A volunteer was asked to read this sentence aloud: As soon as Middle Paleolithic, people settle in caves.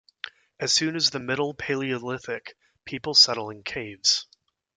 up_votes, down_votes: 0, 2